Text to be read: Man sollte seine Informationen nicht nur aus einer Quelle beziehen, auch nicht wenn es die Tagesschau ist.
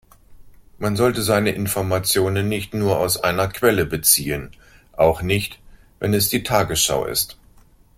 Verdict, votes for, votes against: accepted, 2, 0